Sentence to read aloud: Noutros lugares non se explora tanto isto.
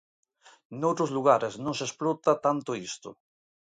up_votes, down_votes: 0, 3